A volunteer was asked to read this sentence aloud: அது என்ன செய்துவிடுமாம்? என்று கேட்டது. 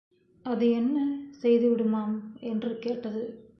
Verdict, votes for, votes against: rejected, 0, 2